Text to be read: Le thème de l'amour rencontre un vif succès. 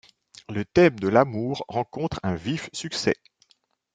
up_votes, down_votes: 2, 0